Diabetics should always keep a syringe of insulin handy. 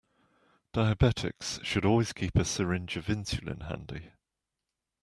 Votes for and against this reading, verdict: 2, 0, accepted